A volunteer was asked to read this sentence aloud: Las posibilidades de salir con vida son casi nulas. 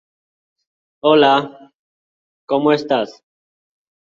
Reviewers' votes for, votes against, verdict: 0, 2, rejected